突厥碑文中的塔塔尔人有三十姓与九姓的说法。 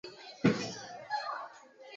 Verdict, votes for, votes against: accepted, 2, 1